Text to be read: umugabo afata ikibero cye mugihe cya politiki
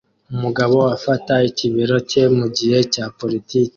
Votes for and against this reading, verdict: 2, 0, accepted